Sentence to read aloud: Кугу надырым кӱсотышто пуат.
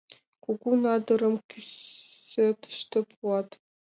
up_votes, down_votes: 2, 0